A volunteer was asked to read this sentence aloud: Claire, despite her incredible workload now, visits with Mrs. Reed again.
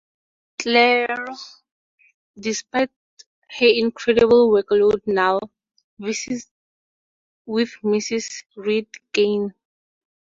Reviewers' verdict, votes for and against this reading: rejected, 0, 4